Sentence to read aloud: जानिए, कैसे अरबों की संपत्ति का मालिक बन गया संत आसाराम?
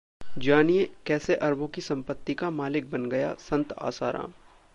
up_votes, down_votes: 1, 2